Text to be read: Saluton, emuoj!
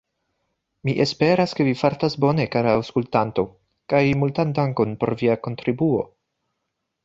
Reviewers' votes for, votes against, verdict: 0, 2, rejected